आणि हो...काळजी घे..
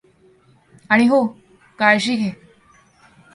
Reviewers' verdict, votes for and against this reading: accepted, 2, 0